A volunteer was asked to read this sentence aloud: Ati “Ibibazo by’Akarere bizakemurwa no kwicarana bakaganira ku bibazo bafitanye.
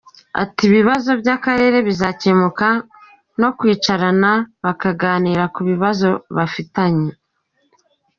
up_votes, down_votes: 1, 2